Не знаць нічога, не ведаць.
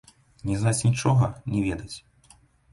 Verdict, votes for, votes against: rejected, 0, 3